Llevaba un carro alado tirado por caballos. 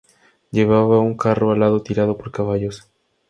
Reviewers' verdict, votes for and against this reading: accepted, 2, 0